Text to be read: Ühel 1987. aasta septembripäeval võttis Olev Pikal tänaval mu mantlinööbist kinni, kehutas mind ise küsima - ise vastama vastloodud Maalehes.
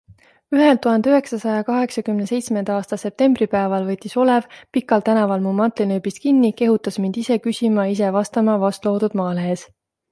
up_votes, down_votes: 0, 2